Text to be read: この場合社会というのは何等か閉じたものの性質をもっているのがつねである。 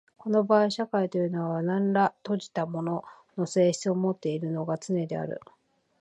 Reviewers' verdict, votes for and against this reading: rejected, 1, 2